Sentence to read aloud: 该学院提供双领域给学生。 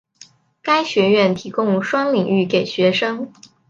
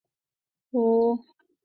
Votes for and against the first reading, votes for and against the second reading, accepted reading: 7, 0, 1, 5, first